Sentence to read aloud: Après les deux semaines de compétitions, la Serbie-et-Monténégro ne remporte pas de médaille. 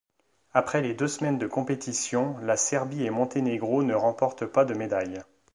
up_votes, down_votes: 2, 0